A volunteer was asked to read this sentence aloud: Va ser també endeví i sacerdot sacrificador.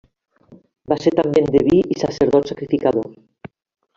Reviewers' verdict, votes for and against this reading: accepted, 3, 0